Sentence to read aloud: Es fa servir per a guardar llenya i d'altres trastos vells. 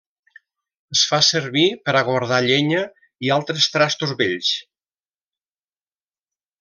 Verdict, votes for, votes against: rejected, 1, 2